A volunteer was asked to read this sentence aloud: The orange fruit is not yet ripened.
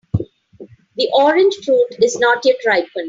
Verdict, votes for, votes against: rejected, 2, 3